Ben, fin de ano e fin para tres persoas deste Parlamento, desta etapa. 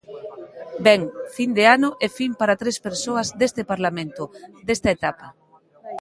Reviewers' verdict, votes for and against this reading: accepted, 3, 0